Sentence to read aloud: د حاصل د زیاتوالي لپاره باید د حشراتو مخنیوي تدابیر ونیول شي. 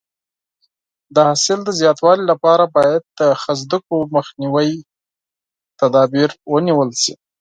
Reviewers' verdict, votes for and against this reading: rejected, 4, 8